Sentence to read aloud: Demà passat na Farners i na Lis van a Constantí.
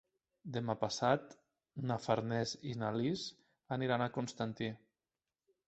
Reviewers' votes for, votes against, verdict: 0, 2, rejected